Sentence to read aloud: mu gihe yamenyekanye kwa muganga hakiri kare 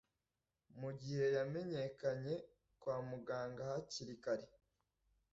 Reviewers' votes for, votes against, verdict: 2, 1, accepted